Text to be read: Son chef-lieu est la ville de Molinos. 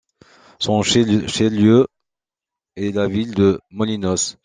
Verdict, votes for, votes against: rejected, 0, 2